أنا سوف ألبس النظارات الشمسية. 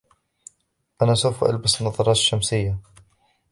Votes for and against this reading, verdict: 0, 2, rejected